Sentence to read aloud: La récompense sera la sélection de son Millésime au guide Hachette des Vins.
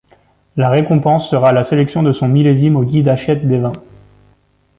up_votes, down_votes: 2, 0